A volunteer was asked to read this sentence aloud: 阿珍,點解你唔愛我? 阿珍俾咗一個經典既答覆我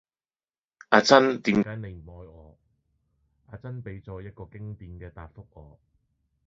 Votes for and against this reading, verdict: 0, 2, rejected